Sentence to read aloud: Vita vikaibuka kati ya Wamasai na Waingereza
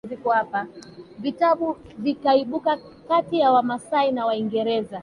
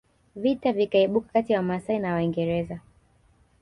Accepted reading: second